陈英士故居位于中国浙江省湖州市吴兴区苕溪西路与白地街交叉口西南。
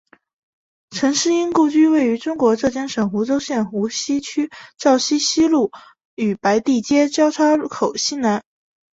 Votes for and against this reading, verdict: 0, 3, rejected